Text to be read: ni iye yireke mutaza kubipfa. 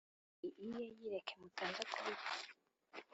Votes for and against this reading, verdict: 2, 1, accepted